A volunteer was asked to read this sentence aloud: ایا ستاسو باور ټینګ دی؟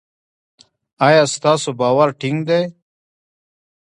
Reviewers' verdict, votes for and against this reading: rejected, 1, 2